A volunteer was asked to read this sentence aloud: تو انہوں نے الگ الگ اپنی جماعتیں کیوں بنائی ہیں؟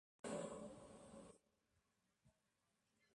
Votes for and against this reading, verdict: 0, 2, rejected